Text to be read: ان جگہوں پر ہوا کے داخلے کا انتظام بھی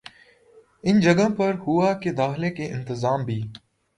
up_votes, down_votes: 1, 2